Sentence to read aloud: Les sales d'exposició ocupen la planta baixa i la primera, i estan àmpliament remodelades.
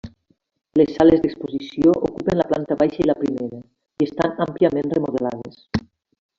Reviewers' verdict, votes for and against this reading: accepted, 3, 1